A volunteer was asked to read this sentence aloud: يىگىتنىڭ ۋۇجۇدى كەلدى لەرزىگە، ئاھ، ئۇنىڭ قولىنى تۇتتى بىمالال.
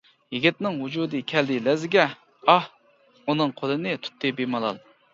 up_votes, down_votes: 2, 0